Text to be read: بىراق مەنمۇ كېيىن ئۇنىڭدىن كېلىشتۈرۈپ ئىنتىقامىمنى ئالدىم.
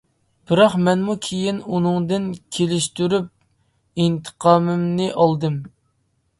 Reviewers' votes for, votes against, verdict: 2, 0, accepted